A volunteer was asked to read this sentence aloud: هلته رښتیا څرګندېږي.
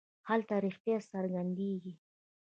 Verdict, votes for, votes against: rejected, 0, 2